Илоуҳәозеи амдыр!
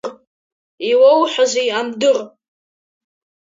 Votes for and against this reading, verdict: 1, 2, rejected